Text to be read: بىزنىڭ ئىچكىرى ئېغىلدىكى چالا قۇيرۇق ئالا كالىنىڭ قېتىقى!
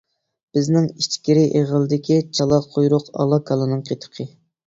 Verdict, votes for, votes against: accepted, 2, 0